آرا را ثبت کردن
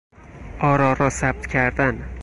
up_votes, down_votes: 4, 0